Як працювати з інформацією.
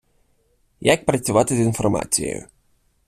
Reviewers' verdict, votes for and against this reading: rejected, 1, 2